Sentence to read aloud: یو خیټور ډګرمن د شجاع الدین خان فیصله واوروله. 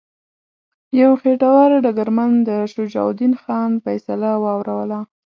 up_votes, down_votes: 2, 0